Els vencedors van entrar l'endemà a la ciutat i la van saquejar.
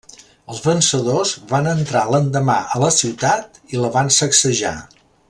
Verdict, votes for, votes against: rejected, 0, 2